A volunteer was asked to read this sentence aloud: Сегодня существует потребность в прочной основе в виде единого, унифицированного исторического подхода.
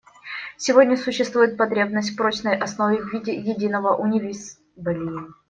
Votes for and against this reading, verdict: 0, 2, rejected